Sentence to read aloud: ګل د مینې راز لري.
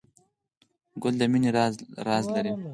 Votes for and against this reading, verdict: 0, 4, rejected